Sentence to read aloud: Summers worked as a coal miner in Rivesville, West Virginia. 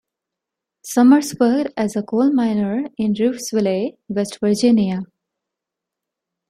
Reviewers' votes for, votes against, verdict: 0, 2, rejected